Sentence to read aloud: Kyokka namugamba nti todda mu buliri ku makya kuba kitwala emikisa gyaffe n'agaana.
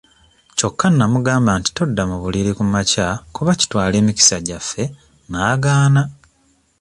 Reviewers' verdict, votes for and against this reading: accepted, 2, 0